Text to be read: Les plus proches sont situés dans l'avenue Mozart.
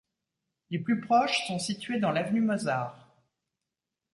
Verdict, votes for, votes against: accepted, 2, 0